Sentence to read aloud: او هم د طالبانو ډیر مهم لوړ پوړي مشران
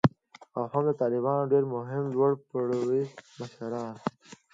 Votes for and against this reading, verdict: 2, 0, accepted